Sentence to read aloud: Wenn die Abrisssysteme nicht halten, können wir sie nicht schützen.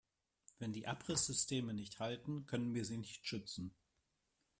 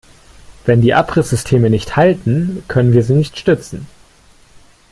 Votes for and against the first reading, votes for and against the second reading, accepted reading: 2, 0, 0, 2, first